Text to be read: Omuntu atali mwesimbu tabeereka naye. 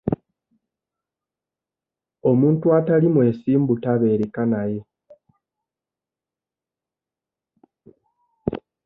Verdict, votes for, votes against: rejected, 1, 2